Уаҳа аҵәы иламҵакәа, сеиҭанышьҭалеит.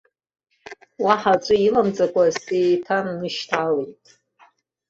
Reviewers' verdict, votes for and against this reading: accepted, 3, 0